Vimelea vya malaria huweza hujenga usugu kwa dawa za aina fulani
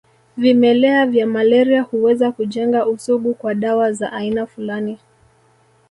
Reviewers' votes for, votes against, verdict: 1, 2, rejected